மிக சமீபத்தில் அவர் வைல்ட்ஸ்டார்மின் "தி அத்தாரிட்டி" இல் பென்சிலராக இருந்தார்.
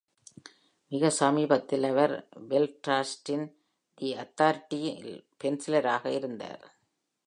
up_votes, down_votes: 1, 2